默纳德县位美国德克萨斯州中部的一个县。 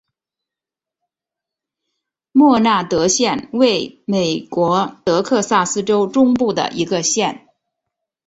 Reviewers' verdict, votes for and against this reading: accepted, 2, 0